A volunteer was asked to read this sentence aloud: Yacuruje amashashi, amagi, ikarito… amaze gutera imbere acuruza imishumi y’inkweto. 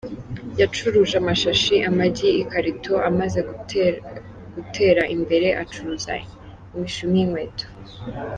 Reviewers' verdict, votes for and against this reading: rejected, 1, 2